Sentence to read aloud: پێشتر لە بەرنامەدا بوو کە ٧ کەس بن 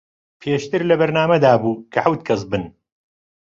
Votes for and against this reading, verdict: 0, 2, rejected